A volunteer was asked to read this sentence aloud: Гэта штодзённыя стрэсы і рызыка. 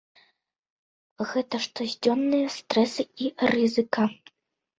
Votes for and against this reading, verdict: 1, 2, rejected